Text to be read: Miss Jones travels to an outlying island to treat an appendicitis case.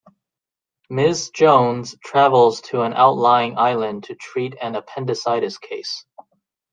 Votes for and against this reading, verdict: 2, 0, accepted